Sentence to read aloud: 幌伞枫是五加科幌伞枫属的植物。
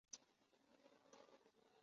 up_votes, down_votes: 0, 3